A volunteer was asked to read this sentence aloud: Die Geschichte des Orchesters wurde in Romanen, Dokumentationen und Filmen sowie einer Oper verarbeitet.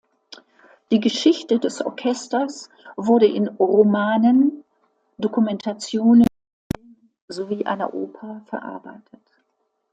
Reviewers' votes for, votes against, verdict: 0, 3, rejected